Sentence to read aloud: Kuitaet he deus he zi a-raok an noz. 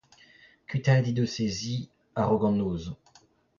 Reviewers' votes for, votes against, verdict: 0, 2, rejected